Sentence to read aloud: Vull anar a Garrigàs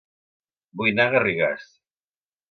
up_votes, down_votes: 2, 3